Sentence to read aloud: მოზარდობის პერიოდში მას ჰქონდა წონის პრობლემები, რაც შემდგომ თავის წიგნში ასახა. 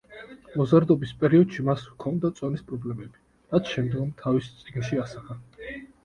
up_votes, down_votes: 2, 0